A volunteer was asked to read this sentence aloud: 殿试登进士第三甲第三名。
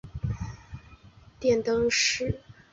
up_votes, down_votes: 0, 2